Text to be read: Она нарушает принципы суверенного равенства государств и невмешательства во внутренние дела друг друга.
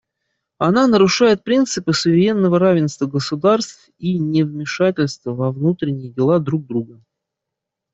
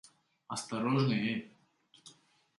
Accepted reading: first